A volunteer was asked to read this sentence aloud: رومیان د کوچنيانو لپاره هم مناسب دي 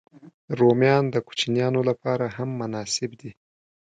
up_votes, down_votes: 2, 0